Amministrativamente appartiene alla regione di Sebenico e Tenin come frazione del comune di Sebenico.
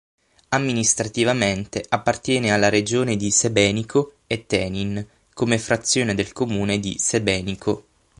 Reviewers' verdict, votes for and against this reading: accepted, 9, 0